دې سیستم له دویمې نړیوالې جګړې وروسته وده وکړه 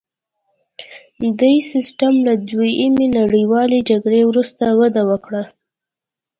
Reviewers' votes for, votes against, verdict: 1, 2, rejected